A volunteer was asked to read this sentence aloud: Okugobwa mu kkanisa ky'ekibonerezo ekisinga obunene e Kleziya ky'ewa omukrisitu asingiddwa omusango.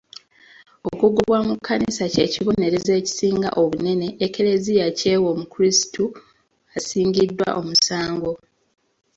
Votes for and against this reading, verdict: 2, 1, accepted